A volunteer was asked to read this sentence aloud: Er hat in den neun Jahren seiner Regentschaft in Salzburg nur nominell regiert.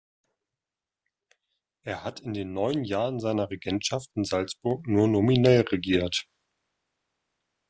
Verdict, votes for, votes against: accepted, 2, 0